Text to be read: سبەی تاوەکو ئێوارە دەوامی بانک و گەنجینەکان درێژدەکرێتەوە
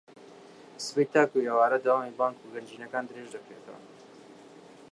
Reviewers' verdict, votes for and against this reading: accepted, 3, 0